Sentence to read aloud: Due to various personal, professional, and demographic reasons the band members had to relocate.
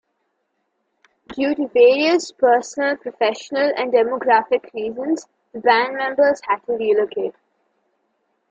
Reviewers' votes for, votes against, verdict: 2, 0, accepted